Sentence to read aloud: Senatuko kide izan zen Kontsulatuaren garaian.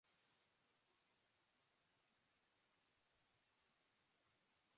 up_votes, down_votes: 0, 2